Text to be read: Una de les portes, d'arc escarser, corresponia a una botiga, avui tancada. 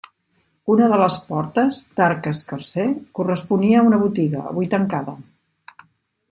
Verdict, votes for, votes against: accepted, 2, 0